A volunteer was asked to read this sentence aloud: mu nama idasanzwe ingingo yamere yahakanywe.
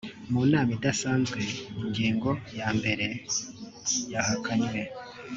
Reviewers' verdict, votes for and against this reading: rejected, 0, 3